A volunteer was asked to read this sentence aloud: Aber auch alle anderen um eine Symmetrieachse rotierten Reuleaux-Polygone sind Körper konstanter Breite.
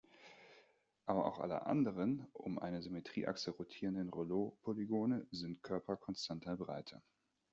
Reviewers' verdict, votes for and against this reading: rejected, 0, 2